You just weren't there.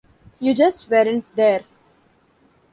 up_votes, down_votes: 2, 0